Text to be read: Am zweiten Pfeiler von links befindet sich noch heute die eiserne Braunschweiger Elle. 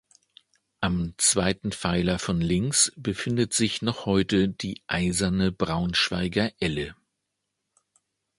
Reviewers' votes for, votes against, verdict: 2, 0, accepted